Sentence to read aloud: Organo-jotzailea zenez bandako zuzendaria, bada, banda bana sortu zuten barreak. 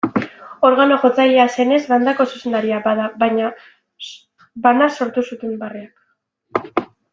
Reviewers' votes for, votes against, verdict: 0, 2, rejected